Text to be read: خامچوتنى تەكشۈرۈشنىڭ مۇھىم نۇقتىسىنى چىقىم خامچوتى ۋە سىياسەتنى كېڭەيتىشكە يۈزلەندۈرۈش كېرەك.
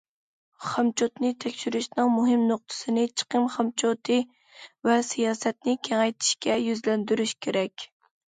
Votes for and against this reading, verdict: 2, 0, accepted